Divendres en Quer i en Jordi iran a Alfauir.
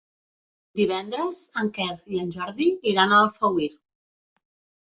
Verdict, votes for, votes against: rejected, 1, 2